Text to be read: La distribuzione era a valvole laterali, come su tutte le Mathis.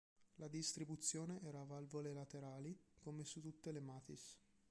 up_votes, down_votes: 0, 2